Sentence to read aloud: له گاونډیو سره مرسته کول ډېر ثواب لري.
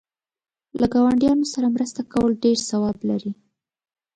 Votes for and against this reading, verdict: 0, 2, rejected